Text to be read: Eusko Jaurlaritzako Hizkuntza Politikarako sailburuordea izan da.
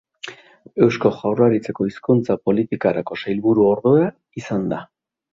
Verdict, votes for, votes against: rejected, 0, 2